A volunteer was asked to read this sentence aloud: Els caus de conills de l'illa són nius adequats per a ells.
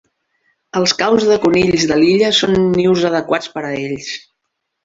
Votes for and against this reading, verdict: 3, 0, accepted